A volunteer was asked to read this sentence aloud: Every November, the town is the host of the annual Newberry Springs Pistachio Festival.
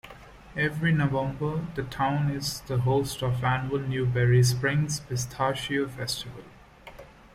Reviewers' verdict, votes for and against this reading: accepted, 2, 1